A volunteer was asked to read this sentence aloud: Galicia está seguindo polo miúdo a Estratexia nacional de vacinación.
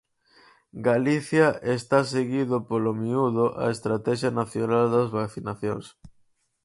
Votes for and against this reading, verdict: 0, 4, rejected